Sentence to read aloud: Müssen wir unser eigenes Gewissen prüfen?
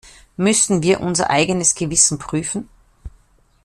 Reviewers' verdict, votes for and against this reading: accepted, 2, 0